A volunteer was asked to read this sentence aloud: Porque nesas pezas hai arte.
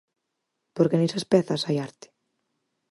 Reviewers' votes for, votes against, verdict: 4, 0, accepted